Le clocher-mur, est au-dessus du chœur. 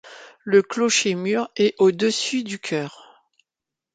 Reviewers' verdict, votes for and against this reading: accepted, 2, 0